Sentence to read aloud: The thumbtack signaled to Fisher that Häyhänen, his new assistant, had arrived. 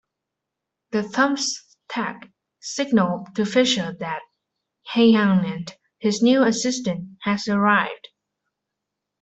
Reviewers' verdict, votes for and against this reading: accepted, 2, 1